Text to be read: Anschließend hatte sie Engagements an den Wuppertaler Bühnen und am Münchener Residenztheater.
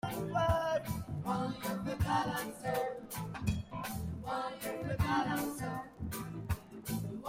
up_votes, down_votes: 0, 2